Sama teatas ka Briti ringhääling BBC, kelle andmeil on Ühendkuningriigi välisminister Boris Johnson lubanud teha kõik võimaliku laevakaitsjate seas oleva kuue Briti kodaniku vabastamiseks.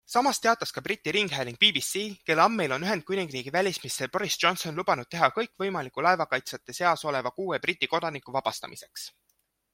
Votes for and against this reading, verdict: 2, 1, accepted